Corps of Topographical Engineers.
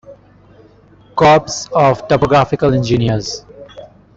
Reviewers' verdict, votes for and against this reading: rejected, 0, 2